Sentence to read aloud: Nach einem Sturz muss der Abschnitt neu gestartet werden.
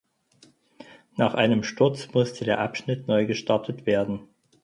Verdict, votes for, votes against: rejected, 0, 4